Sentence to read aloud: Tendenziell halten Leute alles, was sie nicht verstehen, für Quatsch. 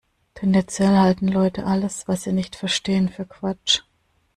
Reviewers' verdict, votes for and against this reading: accepted, 2, 0